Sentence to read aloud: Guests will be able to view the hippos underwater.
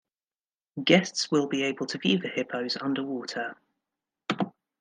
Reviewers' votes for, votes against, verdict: 0, 2, rejected